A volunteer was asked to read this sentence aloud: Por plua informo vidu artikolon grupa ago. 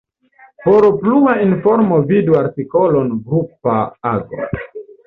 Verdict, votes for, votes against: accepted, 2, 0